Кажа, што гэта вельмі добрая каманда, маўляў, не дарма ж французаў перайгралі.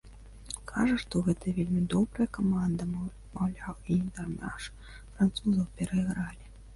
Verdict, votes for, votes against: rejected, 1, 2